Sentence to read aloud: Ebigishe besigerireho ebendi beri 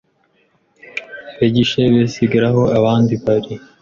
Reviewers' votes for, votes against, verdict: 1, 2, rejected